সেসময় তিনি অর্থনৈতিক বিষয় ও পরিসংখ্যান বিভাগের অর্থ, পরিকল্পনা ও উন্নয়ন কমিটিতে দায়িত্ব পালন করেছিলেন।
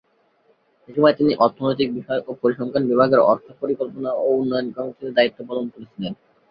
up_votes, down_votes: 1, 2